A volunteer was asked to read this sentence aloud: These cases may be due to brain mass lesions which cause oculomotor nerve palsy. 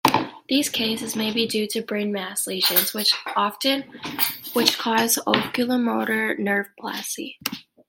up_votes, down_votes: 1, 2